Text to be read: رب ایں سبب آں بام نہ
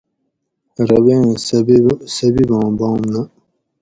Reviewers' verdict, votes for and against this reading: rejected, 2, 2